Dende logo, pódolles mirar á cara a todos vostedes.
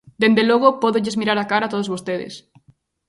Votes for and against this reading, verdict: 3, 0, accepted